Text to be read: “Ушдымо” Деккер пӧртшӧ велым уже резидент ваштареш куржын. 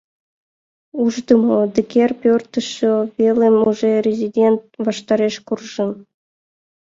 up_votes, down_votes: 0, 2